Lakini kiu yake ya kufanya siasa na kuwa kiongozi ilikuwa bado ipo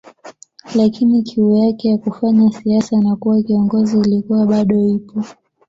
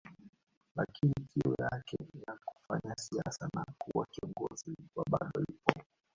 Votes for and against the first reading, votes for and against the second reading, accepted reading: 2, 1, 1, 2, first